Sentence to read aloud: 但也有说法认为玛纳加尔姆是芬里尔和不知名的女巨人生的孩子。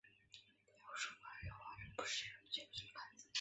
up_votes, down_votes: 0, 3